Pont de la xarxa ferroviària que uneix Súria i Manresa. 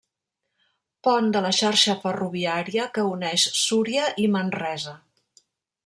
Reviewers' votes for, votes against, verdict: 3, 0, accepted